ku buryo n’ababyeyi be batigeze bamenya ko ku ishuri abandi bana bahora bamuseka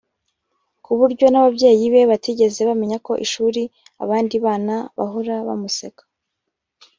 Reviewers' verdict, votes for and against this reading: rejected, 0, 2